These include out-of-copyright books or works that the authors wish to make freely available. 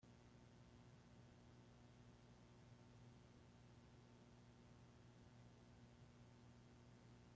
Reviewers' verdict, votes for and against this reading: rejected, 0, 2